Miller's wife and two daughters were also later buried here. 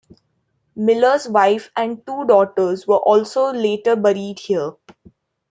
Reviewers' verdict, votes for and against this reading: accepted, 2, 0